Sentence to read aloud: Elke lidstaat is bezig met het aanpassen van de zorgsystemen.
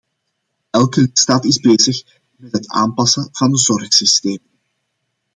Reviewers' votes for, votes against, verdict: 0, 2, rejected